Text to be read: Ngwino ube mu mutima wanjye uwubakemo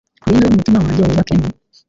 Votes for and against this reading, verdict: 1, 2, rejected